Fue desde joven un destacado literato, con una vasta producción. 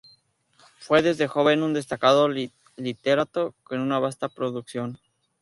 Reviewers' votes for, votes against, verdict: 0, 4, rejected